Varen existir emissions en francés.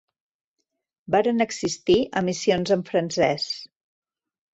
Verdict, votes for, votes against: accepted, 3, 0